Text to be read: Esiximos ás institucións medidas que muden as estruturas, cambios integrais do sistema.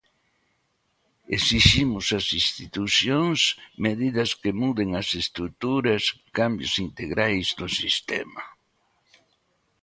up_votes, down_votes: 2, 0